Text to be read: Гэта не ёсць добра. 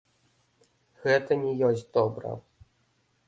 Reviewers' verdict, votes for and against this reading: accepted, 2, 0